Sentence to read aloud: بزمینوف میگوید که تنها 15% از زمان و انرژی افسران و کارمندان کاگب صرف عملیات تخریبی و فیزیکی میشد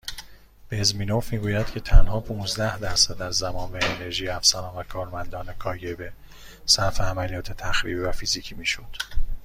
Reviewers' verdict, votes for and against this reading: rejected, 0, 2